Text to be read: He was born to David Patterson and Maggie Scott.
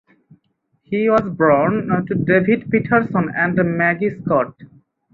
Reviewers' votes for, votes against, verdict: 0, 2, rejected